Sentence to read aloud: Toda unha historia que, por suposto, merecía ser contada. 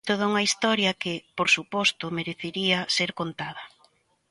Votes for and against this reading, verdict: 1, 2, rejected